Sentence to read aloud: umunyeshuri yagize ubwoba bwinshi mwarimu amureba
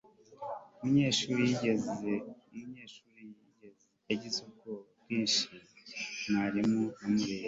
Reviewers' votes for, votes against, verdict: 0, 2, rejected